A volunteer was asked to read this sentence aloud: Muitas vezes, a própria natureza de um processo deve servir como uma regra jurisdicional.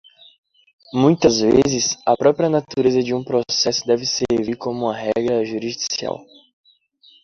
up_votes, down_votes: 1, 2